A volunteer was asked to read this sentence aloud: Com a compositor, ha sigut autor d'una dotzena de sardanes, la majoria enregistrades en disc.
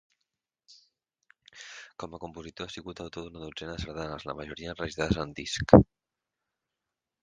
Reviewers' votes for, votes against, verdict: 2, 4, rejected